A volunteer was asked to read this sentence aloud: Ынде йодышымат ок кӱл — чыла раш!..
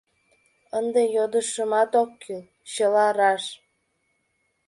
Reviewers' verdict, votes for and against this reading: accepted, 2, 0